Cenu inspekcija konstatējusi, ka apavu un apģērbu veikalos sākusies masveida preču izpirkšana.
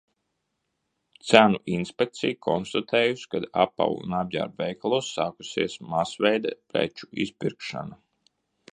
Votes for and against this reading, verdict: 0, 2, rejected